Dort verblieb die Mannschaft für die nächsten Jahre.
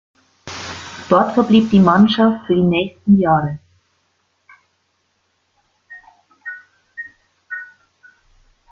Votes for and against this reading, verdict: 2, 0, accepted